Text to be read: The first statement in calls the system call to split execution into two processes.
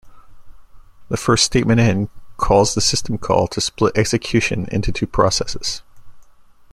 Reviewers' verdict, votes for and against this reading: accepted, 2, 0